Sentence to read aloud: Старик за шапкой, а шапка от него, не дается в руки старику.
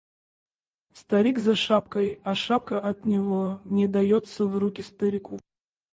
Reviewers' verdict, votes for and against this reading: rejected, 2, 2